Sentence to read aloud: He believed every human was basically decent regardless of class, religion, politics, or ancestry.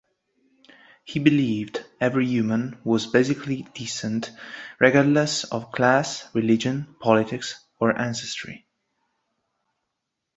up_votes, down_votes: 2, 1